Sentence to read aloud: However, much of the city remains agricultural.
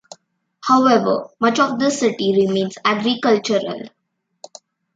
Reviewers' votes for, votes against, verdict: 2, 0, accepted